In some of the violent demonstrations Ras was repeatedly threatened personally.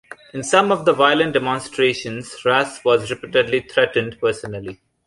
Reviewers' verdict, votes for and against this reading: accepted, 2, 0